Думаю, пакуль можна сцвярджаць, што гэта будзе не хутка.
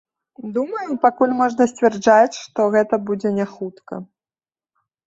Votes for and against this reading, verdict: 1, 2, rejected